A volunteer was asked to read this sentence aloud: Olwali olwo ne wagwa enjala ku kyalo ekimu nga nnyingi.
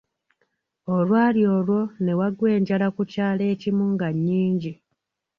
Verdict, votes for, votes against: accepted, 2, 0